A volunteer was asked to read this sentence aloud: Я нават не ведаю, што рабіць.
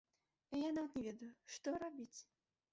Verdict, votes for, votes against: rejected, 1, 2